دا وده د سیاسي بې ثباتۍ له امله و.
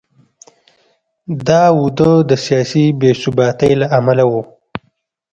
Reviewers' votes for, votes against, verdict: 1, 2, rejected